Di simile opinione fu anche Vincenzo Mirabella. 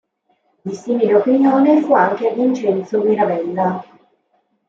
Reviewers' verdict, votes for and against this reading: accepted, 2, 0